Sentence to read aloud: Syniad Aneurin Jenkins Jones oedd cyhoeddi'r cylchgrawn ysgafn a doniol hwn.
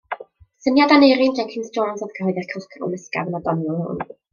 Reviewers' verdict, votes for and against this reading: rejected, 1, 2